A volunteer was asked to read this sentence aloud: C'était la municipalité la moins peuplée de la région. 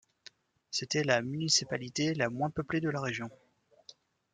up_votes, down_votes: 2, 0